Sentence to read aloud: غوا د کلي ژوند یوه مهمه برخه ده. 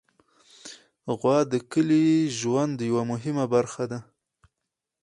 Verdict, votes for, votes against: accepted, 4, 0